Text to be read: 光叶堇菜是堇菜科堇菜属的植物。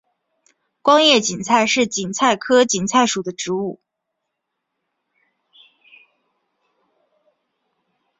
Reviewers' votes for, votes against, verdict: 4, 0, accepted